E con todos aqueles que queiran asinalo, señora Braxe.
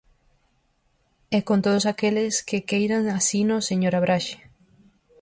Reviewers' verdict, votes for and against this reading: rejected, 0, 4